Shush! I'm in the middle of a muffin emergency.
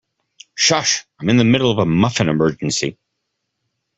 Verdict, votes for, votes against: accepted, 2, 0